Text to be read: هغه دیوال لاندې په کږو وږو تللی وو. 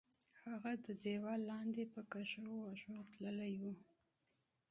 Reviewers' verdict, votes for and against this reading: accepted, 2, 0